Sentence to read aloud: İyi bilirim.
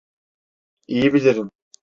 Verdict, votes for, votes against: accepted, 2, 0